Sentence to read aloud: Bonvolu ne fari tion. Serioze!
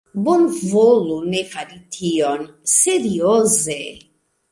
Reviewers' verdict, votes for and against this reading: accepted, 2, 0